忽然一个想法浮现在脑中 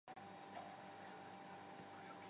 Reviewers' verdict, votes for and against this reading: rejected, 0, 2